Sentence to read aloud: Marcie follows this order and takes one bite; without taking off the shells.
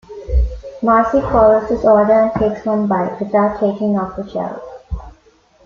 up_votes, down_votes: 2, 1